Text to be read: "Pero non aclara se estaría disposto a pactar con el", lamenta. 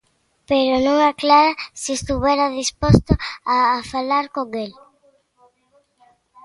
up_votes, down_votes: 0, 2